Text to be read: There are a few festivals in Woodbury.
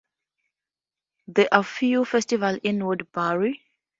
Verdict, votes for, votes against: rejected, 0, 2